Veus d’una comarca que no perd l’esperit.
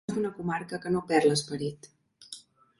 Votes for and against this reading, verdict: 1, 2, rejected